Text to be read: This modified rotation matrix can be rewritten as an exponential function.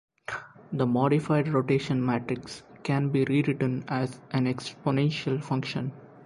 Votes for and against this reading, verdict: 0, 2, rejected